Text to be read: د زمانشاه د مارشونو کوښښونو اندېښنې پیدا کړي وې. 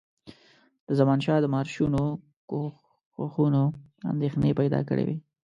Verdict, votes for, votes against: accepted, 2, 1